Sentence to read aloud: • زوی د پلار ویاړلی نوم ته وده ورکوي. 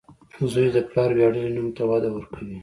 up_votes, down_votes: 2, 0